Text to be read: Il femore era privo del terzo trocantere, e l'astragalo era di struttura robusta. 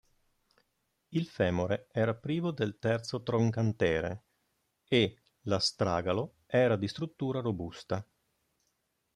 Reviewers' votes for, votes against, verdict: 1, 2, rejected